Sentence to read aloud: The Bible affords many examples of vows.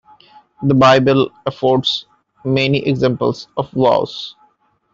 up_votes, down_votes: 1, 2